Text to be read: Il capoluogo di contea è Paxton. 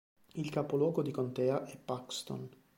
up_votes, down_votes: 2, 0